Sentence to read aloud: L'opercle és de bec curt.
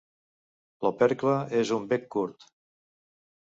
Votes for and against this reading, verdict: 1, 2, rejected